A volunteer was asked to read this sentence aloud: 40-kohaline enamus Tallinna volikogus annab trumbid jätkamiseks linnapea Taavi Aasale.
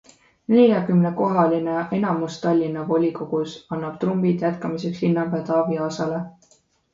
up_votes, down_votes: 0, 2